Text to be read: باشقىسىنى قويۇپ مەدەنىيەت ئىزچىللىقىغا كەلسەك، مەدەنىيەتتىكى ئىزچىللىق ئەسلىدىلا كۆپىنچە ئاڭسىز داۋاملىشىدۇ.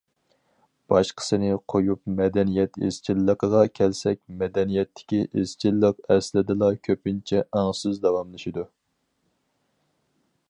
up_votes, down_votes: 4, 0